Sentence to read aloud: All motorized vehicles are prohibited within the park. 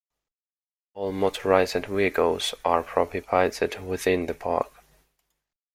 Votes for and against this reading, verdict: 0, 2, rejected